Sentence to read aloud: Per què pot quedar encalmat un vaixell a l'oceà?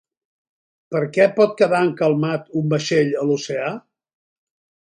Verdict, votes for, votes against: accepted, 4, 0